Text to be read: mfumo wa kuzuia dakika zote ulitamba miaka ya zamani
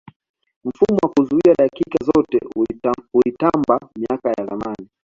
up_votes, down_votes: 2, 0